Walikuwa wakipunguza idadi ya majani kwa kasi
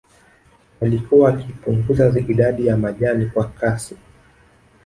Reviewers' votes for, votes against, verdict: 2, 0, accepted